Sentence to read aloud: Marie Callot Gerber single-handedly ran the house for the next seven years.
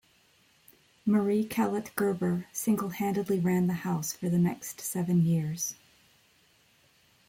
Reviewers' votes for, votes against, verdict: 1, 2, rejected